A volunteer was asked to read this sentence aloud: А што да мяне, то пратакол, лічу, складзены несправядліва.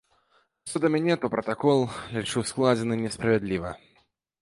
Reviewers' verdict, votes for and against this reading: rejected, 0, 2